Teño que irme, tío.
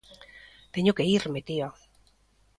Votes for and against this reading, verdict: 1, 2, rejected